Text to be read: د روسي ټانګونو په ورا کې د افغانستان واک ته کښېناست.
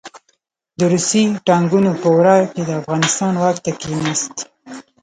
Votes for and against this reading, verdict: 1, 2, rejected